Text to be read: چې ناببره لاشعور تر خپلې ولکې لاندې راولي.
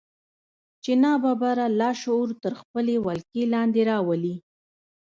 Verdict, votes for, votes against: rejected, 0, 2